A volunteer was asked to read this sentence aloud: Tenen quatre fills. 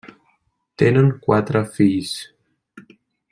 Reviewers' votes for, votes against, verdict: 3, 0, accepted